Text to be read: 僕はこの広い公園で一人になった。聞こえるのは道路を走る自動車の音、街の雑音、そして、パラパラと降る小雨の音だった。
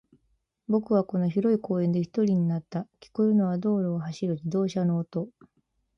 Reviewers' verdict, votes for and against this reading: rejected, 0, 2